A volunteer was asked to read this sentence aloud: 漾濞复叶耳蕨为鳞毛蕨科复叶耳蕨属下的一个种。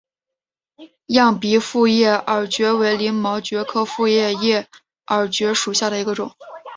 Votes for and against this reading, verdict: 4, 1, accepted